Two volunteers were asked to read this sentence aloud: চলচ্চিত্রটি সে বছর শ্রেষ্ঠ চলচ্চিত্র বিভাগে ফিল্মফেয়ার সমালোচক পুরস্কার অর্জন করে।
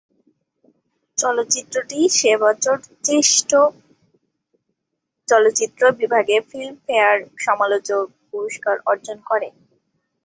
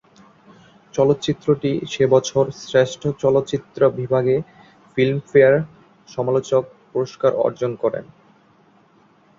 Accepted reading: second